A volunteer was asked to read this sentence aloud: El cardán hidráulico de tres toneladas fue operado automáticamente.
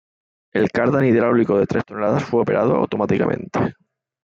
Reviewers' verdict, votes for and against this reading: rejected, 0, 2